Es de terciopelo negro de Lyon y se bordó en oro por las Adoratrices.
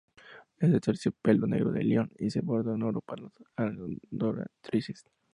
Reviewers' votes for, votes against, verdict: 0, 2, rejected